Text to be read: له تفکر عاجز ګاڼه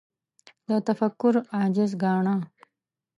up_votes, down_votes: 2, 0